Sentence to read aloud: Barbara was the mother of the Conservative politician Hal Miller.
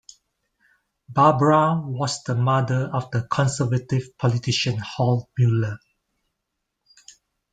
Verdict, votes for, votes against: accepted, 2, 0